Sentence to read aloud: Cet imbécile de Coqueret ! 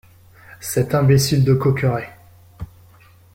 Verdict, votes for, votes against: accepted, 2, 0